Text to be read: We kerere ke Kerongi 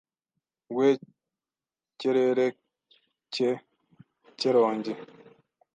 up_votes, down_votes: 1, 2